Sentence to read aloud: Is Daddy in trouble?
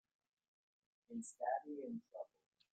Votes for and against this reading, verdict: 1, 2, rejected